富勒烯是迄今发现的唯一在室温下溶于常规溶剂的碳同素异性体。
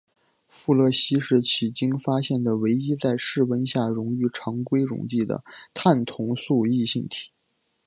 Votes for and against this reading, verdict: 2, 0, accepted